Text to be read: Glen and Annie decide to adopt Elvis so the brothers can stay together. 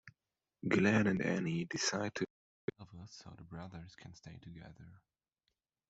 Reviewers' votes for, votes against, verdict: 0, 2, rejected